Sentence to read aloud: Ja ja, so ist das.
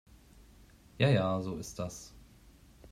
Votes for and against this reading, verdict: 2, 0, accepted